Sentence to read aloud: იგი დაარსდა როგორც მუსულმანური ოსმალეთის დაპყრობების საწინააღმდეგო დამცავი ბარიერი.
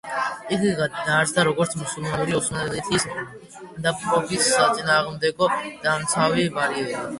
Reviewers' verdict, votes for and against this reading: rejected, 1, 2